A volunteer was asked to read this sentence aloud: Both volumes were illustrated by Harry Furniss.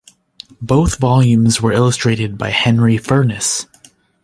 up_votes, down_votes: 0, 2